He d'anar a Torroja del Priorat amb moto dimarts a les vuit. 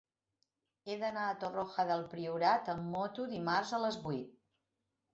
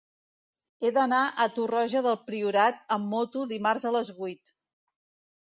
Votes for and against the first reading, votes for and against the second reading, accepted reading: 0, 2, 2, 0, second